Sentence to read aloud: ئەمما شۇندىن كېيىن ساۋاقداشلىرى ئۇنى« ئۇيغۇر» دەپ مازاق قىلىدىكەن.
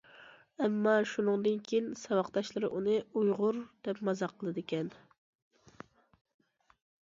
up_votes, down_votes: 1, 2